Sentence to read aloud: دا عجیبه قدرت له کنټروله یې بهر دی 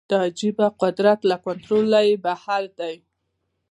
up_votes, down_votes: 2, 1